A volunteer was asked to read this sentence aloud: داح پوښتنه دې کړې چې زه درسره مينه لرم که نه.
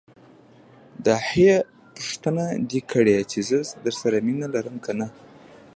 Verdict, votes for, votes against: accepted, 2, 0